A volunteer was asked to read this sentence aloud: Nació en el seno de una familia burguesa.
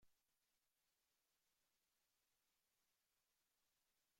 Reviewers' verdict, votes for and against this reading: rejected, 0, 2